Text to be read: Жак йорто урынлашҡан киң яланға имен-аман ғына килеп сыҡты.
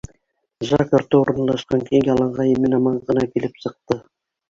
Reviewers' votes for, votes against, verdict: 0, 2, rejected